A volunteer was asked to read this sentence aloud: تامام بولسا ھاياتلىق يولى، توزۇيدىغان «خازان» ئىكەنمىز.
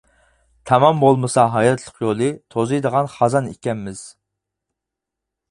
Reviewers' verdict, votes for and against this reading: rejected, 0, 4